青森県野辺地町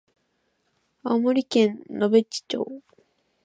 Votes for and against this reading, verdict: 5, 0, accepted